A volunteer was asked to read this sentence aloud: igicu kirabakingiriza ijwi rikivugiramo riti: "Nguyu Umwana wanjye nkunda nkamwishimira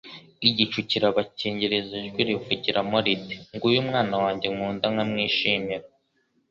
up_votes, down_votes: 2, 0